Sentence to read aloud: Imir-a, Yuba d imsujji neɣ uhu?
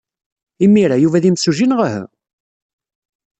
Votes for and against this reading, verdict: 1, 2, rejected